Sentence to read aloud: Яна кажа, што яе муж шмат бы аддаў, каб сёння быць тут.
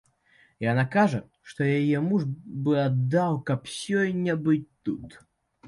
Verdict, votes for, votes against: rejected, 1, 3